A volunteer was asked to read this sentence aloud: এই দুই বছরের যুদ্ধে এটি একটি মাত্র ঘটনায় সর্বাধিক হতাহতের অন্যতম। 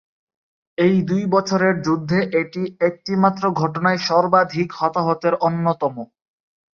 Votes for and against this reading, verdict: 3, 0, accepted